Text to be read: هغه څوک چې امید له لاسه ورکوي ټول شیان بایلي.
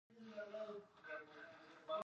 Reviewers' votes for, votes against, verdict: 1, 2, rejected